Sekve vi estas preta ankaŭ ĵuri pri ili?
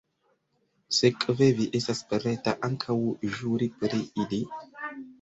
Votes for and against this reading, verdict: 0, 2, rejected